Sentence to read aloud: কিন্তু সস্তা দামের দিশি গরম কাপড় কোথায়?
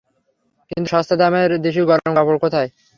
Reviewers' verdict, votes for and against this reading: accepted, 3, 0